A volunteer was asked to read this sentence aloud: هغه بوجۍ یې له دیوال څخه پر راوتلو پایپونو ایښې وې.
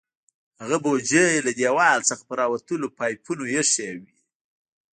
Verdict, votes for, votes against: rejected, 0, 2